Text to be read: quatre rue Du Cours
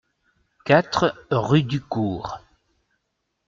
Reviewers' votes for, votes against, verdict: 2, 0, accepted